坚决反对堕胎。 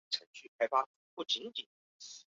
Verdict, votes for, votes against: rejected, 0, 4